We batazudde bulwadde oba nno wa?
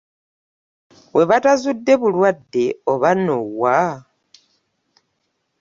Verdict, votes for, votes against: accepted, 2, 0